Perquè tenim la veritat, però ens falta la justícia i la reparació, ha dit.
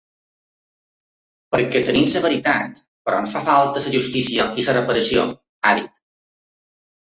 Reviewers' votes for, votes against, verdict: 2, 3, rejected